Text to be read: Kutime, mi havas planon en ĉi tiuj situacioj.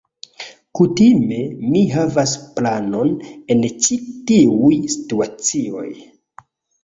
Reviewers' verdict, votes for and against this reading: rejected, 1, 2